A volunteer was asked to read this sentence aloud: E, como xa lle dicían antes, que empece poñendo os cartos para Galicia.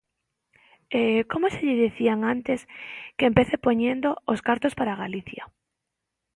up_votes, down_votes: 1, 2